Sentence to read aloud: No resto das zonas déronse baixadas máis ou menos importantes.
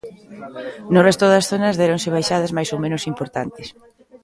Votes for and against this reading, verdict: 1, 2, rejected